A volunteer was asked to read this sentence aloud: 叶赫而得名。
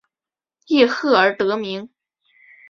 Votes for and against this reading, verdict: 2, 0, accepted